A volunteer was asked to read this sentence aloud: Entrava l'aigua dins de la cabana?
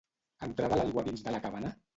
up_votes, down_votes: 1, 2